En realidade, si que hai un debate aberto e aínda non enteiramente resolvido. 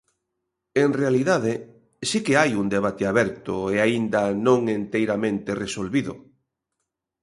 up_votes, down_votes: 2, 0